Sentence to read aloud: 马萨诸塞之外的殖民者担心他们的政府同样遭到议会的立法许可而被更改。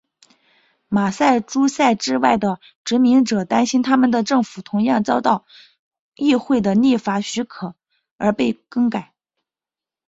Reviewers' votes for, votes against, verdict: 4, 2, accepted